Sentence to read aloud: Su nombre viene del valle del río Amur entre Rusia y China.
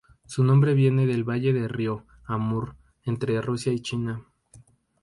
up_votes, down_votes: 2, 0